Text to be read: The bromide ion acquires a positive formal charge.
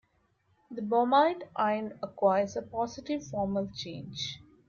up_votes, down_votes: 1, 2